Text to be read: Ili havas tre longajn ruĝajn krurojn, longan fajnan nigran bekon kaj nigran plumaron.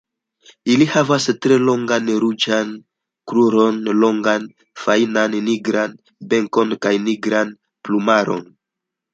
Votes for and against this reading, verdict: 2, 1, accepted